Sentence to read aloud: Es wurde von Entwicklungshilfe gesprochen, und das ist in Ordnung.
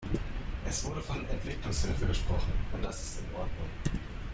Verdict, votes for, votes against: rejected, 0, 2